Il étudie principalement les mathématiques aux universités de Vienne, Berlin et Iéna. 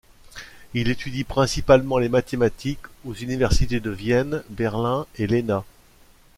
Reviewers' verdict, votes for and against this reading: rejected, 1, 2